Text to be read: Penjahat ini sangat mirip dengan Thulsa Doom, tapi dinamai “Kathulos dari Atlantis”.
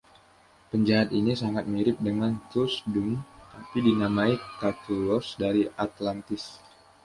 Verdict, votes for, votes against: rejected, 1, 2